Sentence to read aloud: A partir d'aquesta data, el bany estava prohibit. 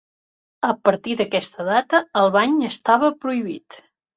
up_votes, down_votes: 3, 0